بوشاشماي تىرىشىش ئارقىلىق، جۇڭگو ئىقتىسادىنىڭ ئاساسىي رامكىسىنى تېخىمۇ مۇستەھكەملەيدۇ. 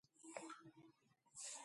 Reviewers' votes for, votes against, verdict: 0, 2, rejected